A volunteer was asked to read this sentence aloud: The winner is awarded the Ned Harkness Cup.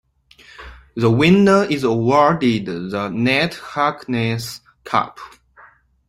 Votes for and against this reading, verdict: 2, 0, accepted